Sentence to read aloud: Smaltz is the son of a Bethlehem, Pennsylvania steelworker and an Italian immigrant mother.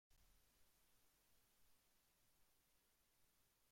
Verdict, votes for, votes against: rejected, 0, 2